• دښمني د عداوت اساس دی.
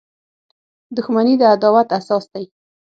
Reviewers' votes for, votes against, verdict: 6, 0, accepted